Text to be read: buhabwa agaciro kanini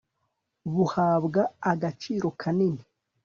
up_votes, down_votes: 2, 0